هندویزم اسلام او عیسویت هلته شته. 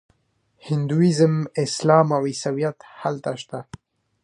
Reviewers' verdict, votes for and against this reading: rejected, 0, 2